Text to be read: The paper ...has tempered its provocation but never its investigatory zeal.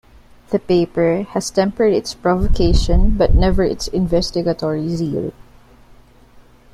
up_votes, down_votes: 2, 1